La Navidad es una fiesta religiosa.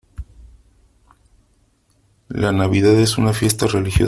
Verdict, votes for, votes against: rejected, 1, 2